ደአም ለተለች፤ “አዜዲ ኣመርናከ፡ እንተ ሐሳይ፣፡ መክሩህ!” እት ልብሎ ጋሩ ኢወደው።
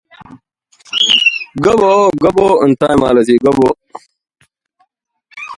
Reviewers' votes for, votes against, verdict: 0, 2, rejected